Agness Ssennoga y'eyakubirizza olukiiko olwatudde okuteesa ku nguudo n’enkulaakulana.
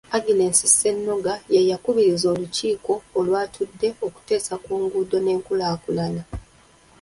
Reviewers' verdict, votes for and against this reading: rejected, 1, 2